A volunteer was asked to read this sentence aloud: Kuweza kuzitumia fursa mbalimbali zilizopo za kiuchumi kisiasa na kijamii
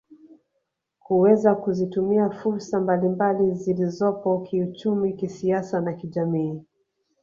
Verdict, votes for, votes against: rejected, 1, 2